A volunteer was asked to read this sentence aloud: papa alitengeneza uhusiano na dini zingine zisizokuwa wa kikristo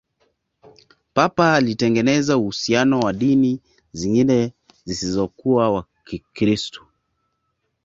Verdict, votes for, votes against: accepted, 2, 0